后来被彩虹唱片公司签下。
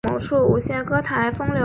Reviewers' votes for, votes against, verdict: 0, 2, rejected